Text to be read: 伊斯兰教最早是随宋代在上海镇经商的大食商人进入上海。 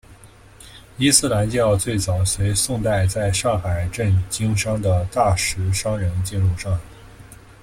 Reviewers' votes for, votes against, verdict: 1, 2, rejected